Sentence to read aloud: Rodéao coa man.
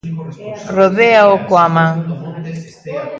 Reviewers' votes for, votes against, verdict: 1, 2, rejected